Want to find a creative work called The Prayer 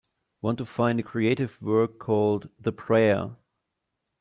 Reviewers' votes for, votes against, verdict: 2, 0, accepted